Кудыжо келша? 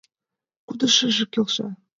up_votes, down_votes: 0, 2